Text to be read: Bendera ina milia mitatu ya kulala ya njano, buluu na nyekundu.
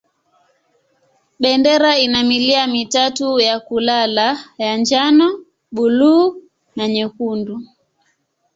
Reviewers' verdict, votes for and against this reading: accepted, 3, 0